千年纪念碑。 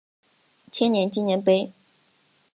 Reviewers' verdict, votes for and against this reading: accepted, 3, 0